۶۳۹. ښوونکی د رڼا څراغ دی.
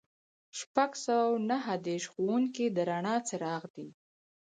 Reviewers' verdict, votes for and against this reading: rejected, 0, 2